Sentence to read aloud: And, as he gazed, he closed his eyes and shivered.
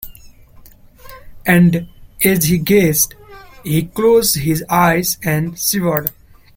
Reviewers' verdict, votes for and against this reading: accepted, 2, 0